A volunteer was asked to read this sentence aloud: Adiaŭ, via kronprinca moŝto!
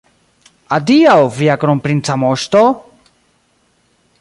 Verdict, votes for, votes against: rejected, 1, 2